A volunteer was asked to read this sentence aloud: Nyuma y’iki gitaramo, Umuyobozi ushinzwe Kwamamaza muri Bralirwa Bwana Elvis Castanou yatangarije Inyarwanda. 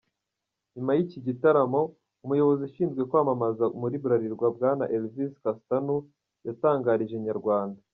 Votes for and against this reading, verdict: 0, 2, rejected